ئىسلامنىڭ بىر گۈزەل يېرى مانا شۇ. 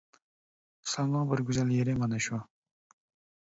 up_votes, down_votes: 1, 2